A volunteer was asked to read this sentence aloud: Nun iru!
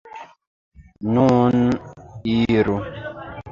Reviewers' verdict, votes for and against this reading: accepted, 3, 2